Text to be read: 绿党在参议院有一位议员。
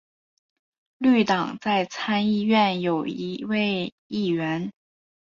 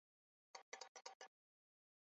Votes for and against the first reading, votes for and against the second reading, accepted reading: 2, 0, 0, 2, first